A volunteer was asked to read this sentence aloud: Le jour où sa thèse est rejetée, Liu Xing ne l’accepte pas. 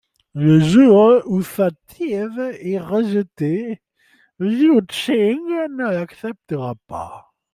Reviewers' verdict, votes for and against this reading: rejected, 0, 2